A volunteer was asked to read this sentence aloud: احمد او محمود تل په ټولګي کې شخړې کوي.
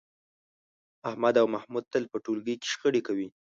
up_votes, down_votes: 3, 0